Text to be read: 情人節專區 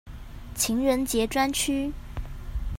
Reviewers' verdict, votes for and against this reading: accepted, 2, 0